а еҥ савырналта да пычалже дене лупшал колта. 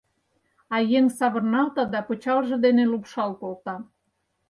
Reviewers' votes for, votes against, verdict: 4, 0, accepted